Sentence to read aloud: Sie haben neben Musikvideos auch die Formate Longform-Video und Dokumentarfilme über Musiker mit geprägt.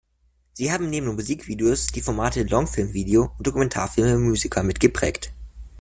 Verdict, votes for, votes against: rejected, 0, 2